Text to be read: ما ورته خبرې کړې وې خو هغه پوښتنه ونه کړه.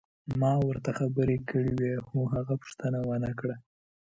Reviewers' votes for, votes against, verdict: 2, 0, accepted